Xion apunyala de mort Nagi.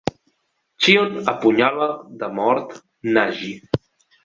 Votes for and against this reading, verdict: 2, 0, accepted